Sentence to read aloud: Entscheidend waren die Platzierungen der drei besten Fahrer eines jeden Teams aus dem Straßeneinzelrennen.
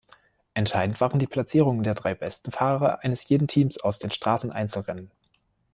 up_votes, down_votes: 0, 2